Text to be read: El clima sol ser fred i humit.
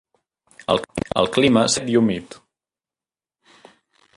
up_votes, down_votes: 0, 2